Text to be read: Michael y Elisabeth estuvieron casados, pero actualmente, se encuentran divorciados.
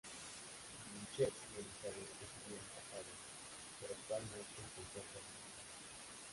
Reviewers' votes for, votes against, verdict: 0, 2, rejected